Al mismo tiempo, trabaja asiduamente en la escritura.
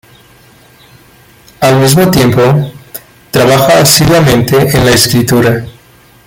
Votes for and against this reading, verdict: 2, 0, accepted